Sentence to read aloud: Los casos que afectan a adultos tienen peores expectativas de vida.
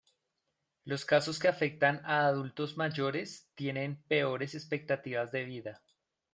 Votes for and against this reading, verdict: 1, 2, rejected